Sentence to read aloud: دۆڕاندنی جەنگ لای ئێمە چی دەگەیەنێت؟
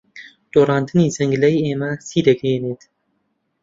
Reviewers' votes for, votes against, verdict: 2, 0, accepted